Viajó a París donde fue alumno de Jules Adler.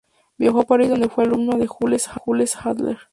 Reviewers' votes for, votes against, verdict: 2, 0, accepted